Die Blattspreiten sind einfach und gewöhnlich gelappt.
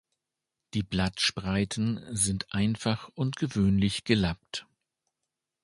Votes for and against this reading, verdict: 2, 0, accepted